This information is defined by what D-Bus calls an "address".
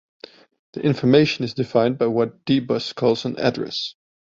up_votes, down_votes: 1, 2